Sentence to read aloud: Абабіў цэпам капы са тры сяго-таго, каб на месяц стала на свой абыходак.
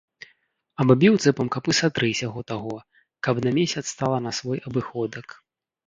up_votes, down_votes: 1, 2